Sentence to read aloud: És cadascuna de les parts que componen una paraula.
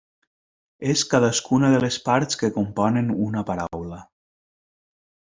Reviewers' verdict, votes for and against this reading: rejected, 1, 2